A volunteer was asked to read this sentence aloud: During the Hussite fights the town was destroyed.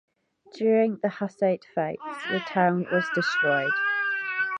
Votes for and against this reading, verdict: 0, 2, rejected